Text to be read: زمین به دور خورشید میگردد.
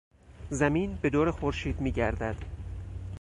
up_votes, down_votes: 4, 0